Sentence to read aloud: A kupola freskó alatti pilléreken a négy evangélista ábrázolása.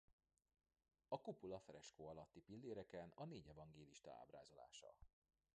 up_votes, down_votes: 0, 2